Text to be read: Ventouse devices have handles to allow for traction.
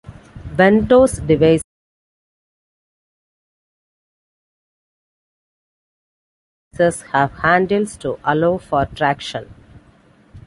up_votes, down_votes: 0, 2